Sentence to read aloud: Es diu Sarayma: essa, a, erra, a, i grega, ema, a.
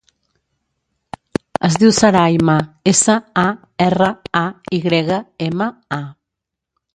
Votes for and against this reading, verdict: 1, 2, rejected